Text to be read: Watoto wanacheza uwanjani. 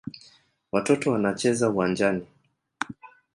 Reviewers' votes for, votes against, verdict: 2, 0, accepted